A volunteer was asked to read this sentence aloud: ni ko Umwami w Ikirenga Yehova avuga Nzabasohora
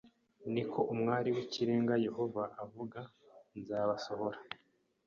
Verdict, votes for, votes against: rejected, 1, 2